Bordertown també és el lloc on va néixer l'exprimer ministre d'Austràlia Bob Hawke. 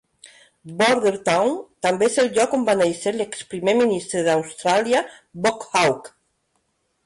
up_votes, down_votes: 1, 2